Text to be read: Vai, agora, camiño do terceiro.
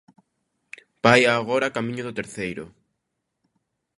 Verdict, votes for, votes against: accepted, 2, 0